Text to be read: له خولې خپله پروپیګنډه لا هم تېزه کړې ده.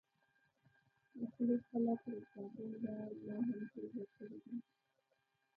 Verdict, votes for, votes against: rejected, 1, 2